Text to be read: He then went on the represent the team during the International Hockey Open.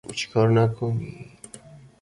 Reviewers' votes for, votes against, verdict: 0, 2, rejected